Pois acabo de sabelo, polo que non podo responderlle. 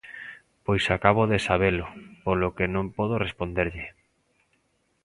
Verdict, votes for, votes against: accepted, 2, 0